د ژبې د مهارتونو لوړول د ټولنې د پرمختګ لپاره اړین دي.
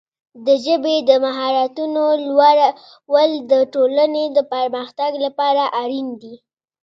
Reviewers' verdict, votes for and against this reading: accepted, 2, 0